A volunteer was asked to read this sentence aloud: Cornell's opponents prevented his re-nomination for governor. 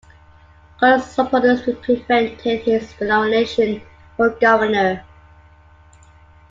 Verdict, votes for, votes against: rejected, 1, 2